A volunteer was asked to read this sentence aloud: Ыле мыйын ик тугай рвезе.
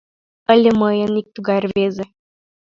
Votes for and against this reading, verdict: 3, 1, accepted